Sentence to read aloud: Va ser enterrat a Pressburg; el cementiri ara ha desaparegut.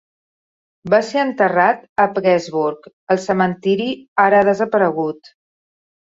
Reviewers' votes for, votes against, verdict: 2, 0, accepted